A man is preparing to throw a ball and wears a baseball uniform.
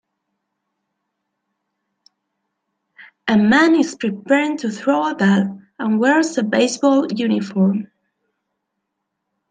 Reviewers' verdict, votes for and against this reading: rejected, 0, 2